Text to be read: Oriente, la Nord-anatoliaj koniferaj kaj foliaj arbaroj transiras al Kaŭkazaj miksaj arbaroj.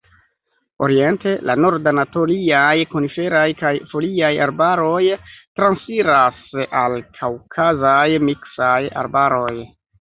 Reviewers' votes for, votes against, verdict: 1, 2, rejected